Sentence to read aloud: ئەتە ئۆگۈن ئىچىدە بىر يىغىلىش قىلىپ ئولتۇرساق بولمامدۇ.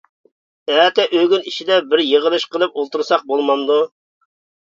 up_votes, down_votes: 2, 0